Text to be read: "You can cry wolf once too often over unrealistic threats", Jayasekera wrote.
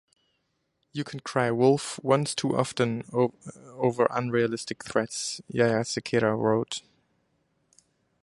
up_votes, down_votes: 0, 4